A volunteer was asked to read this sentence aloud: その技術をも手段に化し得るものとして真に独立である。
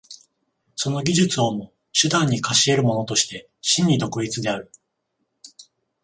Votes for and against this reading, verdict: 14, 0, accepted